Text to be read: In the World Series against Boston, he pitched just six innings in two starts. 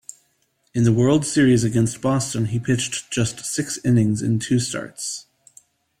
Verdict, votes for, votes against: accepted, 2, 0